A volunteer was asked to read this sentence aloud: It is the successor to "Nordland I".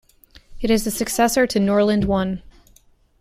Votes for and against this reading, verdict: 1, 2, rejected